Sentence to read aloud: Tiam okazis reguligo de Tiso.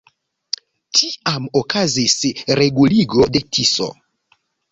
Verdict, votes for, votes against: accepted, 2, 0